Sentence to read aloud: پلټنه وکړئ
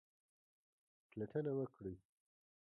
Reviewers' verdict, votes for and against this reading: accepted, 2, 1